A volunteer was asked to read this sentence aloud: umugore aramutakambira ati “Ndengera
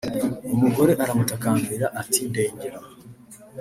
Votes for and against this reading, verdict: 2, 0, accepted